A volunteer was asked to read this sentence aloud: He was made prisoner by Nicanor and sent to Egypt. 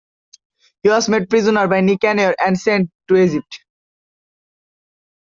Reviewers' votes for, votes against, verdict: 2, 1, accepted